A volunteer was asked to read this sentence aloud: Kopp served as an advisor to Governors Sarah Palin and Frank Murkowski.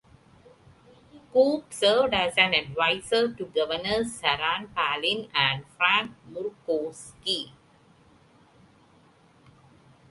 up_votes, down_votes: 2, 1